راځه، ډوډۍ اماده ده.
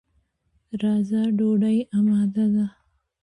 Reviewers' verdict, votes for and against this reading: accepted, 2, 0